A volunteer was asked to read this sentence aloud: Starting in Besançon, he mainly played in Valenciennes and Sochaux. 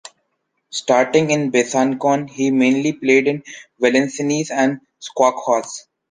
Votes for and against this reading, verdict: 0, 2, rejected